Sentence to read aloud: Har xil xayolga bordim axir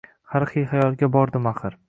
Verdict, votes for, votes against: rejected, 1, 2